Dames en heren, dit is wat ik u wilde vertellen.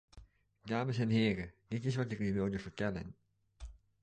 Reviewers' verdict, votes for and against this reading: rejected, 0, 2